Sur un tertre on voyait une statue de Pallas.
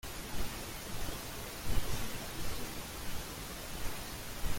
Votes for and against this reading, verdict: 0, 2, rejected